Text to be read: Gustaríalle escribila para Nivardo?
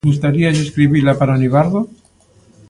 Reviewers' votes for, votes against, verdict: 2, 0, accepted